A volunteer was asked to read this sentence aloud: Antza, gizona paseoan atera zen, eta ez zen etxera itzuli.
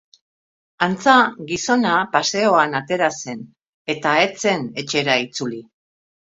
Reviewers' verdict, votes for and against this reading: accepted, 2, 0